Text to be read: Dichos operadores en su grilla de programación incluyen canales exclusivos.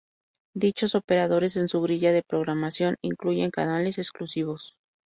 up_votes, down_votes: 2, 0